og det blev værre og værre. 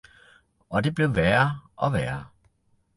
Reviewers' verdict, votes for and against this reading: accepted, 2, 0